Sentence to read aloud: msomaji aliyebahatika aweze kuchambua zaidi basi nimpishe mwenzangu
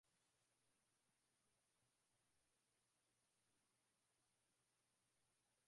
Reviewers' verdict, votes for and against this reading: rejected, 0, 2